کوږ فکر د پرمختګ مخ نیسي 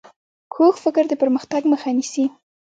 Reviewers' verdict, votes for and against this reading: accepted, 3, 0